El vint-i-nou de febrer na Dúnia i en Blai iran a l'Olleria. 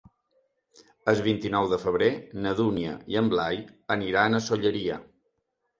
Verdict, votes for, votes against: rejected, 0, 2